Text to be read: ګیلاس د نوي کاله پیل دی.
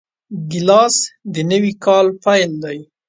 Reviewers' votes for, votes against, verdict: 2, 0, accepted